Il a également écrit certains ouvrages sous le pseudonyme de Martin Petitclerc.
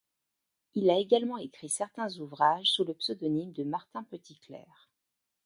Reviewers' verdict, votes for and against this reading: accepted, 2, 0